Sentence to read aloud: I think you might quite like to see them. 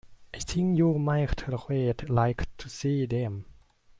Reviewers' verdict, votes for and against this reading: rejected, 1, 2